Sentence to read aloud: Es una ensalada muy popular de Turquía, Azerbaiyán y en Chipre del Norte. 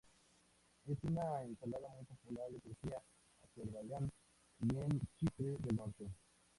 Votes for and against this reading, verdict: 0, 2, rejected